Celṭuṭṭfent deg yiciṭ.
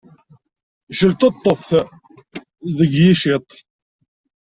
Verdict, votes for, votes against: rejected, 1, 2